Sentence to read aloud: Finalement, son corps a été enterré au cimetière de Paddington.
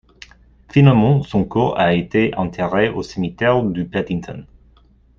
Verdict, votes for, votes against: rejected, 1, 2